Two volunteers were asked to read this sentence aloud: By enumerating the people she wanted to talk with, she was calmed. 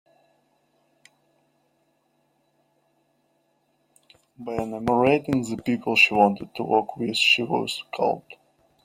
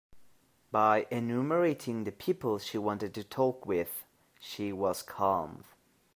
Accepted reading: second